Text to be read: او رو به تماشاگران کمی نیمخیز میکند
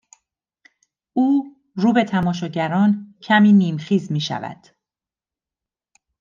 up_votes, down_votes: 0, 2